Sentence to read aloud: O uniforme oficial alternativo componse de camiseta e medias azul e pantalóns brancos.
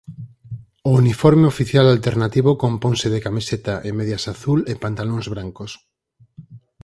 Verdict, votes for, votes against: accepted, 4, 0